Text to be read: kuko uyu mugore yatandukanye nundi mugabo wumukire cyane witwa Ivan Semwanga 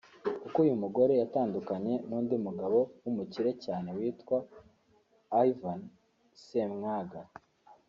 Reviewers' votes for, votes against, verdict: 1, 2, rejected